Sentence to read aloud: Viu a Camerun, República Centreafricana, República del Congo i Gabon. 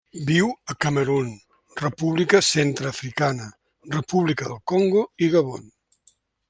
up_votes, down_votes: 2, 0